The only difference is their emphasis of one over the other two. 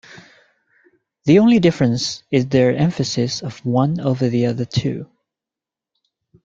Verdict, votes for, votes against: accepted, 2, 0